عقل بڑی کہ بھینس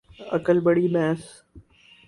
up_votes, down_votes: 2, 4